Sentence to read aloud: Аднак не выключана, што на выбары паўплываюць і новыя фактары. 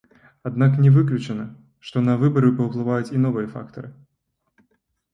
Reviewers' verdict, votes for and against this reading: rejected, 1, 2